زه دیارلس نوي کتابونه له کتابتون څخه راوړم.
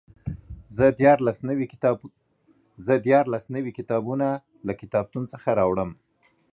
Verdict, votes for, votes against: rejected, 1, 2